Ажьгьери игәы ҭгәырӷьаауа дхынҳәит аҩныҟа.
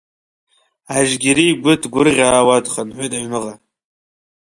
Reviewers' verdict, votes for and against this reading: rejected, 1, 2